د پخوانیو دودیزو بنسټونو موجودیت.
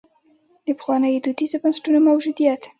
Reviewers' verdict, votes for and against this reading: accepted, 2, 0